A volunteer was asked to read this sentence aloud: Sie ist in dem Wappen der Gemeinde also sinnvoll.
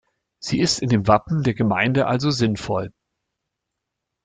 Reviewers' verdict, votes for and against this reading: accepted, 2, 1